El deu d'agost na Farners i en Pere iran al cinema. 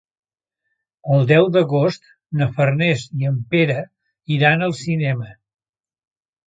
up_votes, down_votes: 3, 0